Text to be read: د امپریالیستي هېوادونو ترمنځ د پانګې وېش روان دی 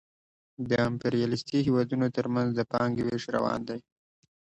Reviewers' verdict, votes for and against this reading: accepted, 2, 0